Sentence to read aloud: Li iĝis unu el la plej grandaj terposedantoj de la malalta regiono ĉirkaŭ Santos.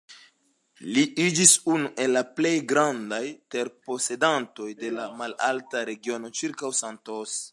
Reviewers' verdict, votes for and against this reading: accepted, 2, 0